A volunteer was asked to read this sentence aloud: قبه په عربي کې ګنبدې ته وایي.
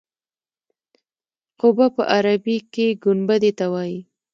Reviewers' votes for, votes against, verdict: 2, 0, accepted